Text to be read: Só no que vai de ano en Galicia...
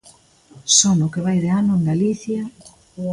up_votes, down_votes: 2, 0